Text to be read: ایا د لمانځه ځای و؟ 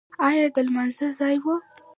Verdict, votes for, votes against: rejected, 0, 2